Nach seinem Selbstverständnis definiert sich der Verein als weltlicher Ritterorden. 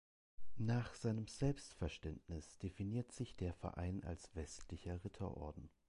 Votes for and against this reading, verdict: 0, 2, rejected